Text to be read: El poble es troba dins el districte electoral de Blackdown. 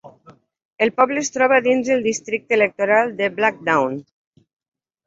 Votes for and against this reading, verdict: 5, 0, accepted